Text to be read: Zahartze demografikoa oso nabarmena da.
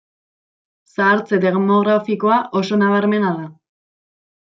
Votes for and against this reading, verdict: 2, 0, accepted